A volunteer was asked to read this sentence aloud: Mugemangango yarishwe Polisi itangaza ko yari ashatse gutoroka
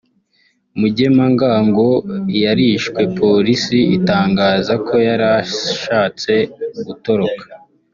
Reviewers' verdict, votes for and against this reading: accepted, 2, 1